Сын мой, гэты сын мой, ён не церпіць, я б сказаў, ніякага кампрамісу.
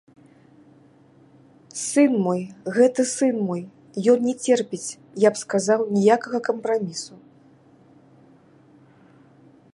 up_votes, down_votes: 2, 0